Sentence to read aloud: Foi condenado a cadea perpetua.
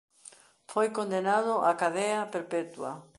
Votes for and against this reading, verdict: 2, 0, accepted